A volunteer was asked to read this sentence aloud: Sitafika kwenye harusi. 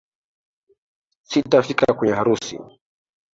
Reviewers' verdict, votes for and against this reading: accepted, 4, 2